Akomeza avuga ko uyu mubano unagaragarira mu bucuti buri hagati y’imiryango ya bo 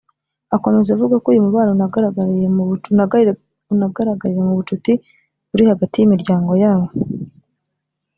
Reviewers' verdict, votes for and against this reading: rejected, 0, 2